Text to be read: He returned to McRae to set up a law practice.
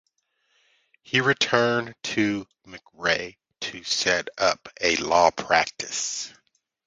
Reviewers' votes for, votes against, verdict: 2, 0, accepted